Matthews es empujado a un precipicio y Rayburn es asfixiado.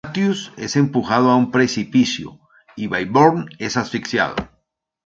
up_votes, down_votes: 0, 2